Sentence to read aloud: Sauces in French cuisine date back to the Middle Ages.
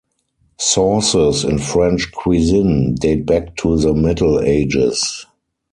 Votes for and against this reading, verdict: 4, 0, accepted